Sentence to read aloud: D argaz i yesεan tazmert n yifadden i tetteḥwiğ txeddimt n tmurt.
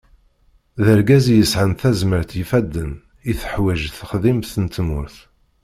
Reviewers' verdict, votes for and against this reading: rejected, 1, 2